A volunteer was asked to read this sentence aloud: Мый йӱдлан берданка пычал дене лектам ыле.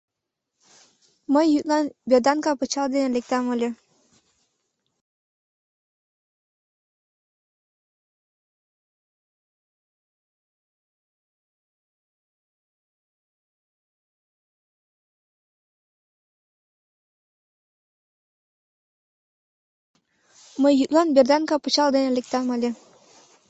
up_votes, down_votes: 1, 2